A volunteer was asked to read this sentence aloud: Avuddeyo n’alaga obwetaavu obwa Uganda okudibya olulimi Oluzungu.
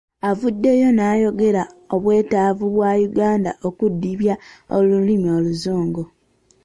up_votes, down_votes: 0, 2